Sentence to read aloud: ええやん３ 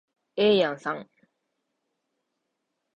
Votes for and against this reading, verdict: 0, 2, rejected